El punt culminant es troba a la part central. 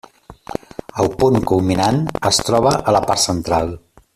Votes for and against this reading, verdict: 3, 0, accepted